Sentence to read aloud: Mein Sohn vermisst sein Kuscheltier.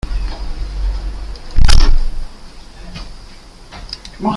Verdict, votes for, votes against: rejected, 0, 2